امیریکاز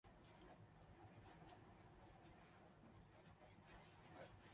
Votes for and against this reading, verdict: 0, 2, rejected